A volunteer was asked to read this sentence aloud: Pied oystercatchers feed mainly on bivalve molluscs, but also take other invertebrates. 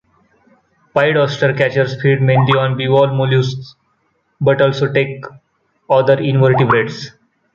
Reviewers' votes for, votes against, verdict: 2, 0, accepted